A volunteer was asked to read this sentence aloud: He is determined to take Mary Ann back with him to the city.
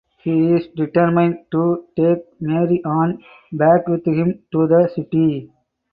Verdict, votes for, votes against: rejected, 2, 4